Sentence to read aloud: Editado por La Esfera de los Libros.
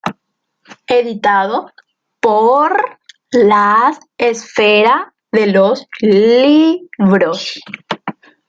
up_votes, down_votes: 1, 2